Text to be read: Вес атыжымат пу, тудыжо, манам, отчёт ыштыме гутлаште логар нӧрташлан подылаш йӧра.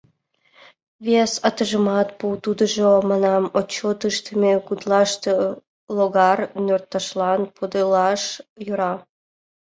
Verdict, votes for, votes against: accepted, 2, 0